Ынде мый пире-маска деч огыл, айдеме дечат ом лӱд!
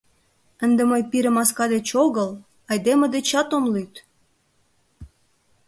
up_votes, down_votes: 2, 0